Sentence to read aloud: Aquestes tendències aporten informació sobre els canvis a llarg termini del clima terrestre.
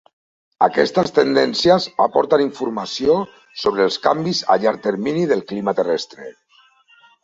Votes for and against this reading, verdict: 2, 0, accepted